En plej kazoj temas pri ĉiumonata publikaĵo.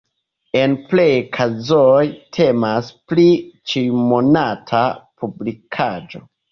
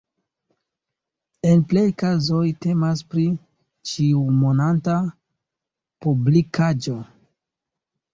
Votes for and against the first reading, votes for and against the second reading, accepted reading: 3, 2, 0, 2, first